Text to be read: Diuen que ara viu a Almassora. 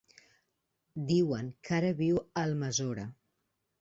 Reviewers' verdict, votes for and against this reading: rejected, 2, 3